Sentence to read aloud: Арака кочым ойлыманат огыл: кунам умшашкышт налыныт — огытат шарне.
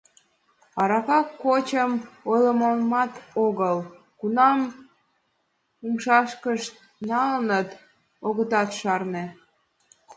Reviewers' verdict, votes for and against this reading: accepted, 2, 0